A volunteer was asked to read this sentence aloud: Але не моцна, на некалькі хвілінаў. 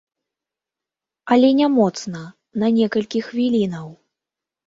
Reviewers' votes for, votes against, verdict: 2, 0, accepted